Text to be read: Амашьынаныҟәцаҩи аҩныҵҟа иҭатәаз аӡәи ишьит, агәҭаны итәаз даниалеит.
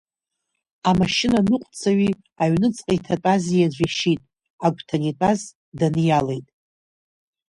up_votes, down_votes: 1, 2